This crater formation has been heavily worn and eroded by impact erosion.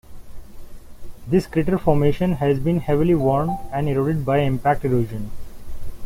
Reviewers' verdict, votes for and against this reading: rejected, 1, 2